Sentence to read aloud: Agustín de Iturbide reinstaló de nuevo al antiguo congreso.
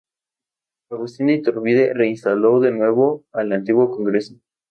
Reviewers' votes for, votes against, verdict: 2, 0, accepted